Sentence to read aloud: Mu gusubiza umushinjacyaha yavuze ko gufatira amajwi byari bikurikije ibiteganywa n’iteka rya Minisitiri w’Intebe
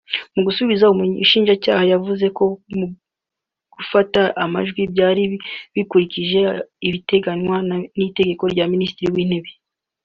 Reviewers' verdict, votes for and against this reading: rejected, 0, 2